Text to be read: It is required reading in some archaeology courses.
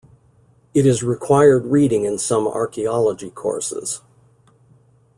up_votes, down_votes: 2, 0